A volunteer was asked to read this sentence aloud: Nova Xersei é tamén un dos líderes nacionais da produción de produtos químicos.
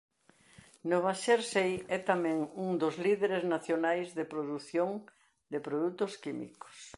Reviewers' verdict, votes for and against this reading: rejected, 0, 2